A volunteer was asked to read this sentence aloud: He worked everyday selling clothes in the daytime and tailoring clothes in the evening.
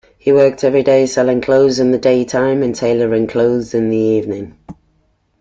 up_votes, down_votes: 2, 0